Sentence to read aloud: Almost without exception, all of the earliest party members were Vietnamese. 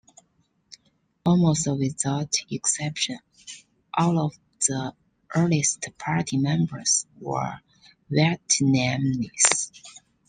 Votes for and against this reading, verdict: 1, 2, rejected